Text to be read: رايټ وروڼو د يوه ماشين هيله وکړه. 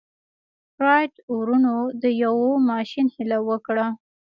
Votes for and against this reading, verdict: 0, 2, rejected